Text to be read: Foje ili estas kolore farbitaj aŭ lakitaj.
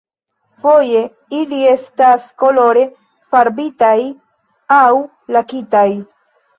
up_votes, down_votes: 2, 0